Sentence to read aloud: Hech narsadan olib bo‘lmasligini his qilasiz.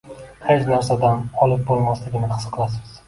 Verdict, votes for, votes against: accepted, 2, 1